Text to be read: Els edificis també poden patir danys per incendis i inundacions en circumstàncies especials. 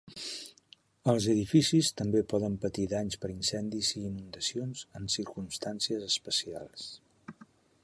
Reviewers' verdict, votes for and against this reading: accepted, 2, 0